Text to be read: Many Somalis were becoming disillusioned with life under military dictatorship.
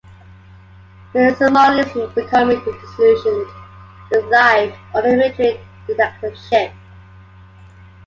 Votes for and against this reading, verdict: 1, 2, rejected